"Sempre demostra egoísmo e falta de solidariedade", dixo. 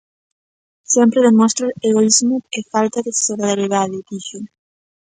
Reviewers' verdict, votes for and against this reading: rejected, 1, 2